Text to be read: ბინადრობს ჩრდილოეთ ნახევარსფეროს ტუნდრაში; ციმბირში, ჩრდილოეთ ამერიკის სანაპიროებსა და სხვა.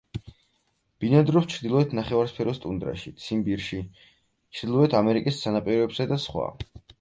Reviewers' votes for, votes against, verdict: 4, 2, accepted